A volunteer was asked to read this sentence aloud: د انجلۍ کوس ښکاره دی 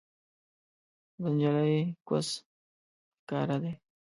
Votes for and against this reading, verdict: 0, 2, rejected